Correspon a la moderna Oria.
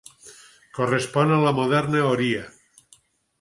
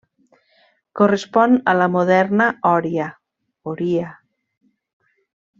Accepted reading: first